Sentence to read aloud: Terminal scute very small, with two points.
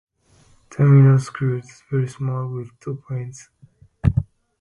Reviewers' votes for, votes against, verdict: 0, 2, rejected